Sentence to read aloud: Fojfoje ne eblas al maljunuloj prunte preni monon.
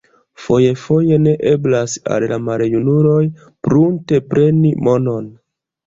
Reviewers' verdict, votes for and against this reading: rejected, 0, 2